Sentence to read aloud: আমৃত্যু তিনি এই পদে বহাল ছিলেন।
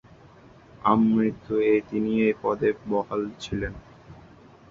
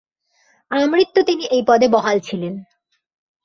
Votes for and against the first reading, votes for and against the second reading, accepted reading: 0, 2, 2, 0, second